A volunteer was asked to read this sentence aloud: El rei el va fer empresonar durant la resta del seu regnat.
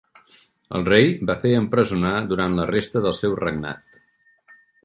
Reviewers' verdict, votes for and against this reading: rejected, 0, 2